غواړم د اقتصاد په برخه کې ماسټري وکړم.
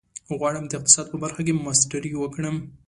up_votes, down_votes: 2, 0